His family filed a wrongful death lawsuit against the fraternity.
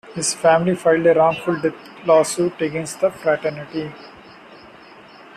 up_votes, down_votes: 2, 1